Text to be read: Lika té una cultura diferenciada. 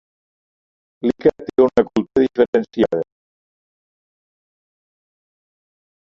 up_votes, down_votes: 0, 2